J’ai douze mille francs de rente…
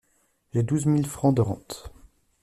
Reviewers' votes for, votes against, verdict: 2, 0, accepted